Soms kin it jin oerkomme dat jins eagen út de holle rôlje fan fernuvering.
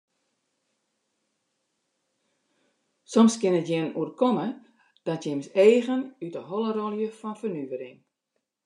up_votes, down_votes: 2, 0